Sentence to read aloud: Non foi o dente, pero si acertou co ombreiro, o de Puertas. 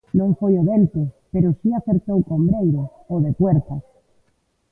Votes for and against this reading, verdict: 3, 0, accepted